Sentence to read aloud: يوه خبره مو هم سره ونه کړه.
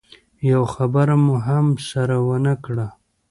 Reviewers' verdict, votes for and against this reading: accepted, 2, 1